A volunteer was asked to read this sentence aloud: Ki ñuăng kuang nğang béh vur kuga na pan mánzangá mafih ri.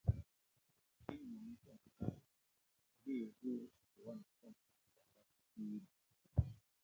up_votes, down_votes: 0, 2